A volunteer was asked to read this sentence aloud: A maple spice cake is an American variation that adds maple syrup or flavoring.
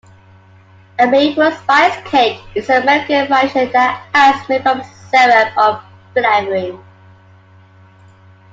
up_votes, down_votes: 0, 2